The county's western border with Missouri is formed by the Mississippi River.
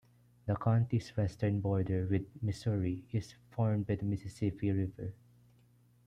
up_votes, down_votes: 2, 0